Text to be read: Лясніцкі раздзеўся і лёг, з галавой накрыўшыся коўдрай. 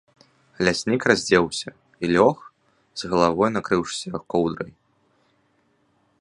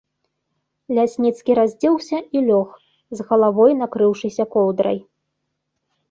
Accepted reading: second